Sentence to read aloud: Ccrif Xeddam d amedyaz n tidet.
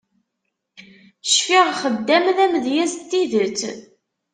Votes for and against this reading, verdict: 0, 2, rejected